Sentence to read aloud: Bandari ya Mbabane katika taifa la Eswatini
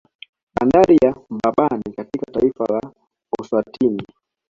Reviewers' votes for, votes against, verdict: 2, 1, accepted